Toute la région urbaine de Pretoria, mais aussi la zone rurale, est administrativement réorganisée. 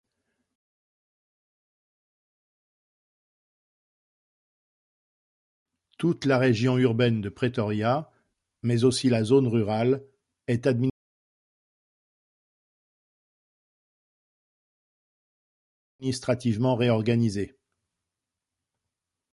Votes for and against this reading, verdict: 0, 2, rejected